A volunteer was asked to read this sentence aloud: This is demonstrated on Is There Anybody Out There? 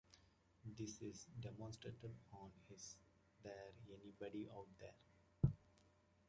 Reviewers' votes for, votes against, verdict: 2, 0, accepted